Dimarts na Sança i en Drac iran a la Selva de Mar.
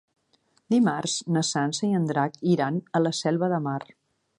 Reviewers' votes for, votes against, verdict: 3, 0, accepted